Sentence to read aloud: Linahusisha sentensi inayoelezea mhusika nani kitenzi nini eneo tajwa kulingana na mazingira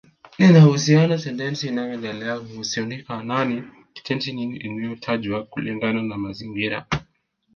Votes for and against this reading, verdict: 2, 1, accepted